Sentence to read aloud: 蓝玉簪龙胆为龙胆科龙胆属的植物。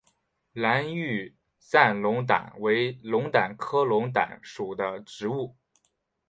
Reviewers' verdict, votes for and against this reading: accepted, 3, 0